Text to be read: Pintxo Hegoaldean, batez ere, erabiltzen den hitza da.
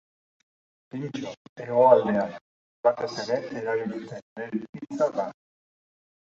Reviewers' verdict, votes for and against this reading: rejected, 0, 2